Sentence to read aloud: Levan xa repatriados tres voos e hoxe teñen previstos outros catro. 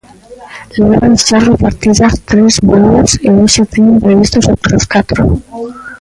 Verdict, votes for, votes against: rejected, 0, 2